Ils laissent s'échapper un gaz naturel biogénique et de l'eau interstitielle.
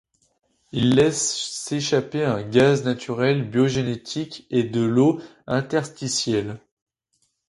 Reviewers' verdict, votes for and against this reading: rejected, 0, 2